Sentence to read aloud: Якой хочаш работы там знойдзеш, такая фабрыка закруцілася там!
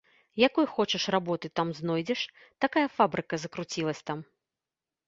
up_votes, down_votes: 1, 2